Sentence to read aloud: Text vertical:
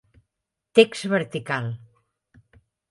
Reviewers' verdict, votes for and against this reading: accepted, 3, 0